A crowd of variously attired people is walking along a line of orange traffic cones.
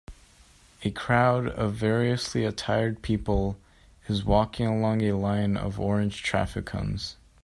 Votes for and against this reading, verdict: 2, 0, accepted